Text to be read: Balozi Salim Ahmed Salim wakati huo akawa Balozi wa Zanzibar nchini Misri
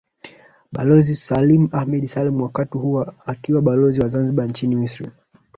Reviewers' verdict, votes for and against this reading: rejected, 1, 2